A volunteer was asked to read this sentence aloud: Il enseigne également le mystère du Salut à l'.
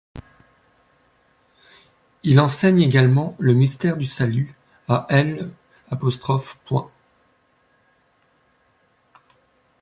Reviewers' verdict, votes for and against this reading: rejected, 0, 2